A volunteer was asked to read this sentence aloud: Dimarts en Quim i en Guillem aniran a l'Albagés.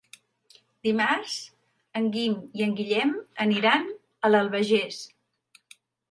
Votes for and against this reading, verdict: 2, 3, rejected